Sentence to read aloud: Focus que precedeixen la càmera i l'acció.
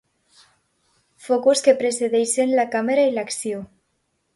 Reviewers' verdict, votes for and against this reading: accepted, 2, 0